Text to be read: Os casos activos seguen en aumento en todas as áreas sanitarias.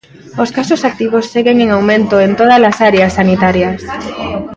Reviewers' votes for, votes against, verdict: 1, 2, rejected